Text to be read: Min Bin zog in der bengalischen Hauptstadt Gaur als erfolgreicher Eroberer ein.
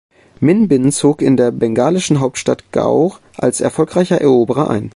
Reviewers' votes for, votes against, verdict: 3, 0, accepted